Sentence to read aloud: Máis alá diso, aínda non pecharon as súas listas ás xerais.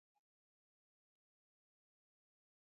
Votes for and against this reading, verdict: 0, 2, rejected